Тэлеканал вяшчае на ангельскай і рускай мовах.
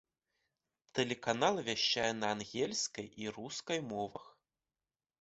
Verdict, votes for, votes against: accepted, 2, 0